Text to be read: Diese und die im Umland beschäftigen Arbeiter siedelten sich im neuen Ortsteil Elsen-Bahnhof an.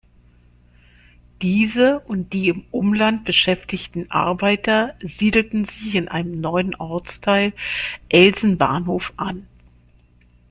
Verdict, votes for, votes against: rejected, 0, 2